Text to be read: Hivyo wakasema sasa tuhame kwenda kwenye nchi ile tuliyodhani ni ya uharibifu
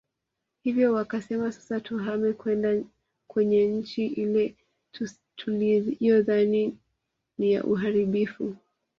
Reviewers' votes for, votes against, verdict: 1, 2, rejected